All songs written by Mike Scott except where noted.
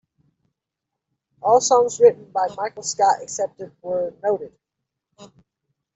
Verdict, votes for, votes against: rejected, 0, 2